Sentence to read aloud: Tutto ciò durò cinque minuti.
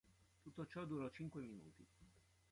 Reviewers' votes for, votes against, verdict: 0, 2, rejected